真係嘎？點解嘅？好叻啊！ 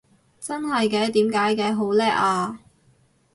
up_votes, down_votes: 0, 2